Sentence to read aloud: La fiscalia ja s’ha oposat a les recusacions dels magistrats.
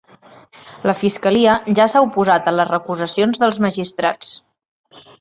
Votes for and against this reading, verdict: 3, 0, accepted